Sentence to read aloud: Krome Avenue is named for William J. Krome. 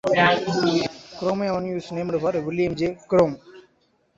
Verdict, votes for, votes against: rejected, 0, 2